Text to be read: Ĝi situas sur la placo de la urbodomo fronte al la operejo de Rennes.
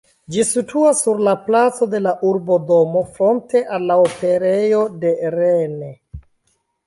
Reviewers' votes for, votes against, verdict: 2, 1, accepted